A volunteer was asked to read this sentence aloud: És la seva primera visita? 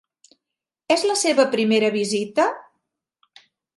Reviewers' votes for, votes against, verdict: 3, 0, accepted